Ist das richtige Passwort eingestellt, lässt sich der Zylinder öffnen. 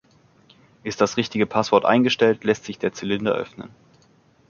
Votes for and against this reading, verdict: 2, 0, accepted